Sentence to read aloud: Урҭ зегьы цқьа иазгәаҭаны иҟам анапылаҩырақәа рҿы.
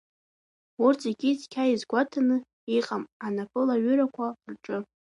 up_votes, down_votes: 2, 1